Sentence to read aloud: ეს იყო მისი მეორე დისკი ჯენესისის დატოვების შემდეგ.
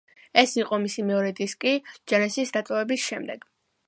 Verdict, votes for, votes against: accepted, 2, 0